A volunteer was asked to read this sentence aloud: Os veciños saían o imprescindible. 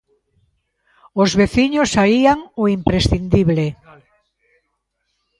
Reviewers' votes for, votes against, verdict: 0, 2, rejected